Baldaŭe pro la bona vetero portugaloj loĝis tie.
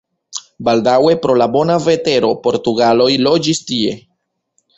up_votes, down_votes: 3, 1